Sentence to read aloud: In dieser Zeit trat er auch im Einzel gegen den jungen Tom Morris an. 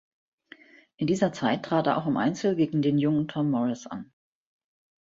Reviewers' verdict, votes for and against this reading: accepted, 2, 0